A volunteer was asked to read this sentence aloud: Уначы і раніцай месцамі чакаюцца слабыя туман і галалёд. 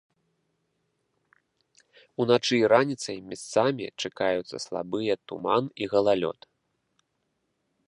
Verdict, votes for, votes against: accepted, 2, 0